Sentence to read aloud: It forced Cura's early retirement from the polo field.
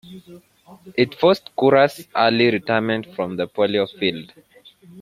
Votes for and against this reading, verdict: 0, 2, rejected